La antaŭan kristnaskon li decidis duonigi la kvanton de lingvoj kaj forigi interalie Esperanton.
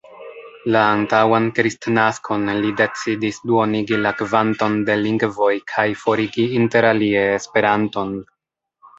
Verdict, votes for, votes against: rejected, 1, 3